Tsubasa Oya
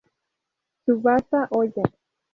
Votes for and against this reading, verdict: 2, 2, rejected